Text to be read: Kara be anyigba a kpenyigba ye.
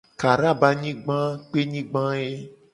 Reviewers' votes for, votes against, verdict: 2, 0, accepted